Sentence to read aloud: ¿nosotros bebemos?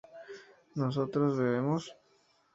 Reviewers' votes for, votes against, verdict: 4, 0, accepted